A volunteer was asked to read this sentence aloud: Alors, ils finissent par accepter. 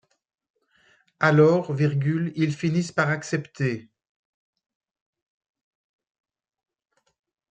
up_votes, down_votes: 2, 1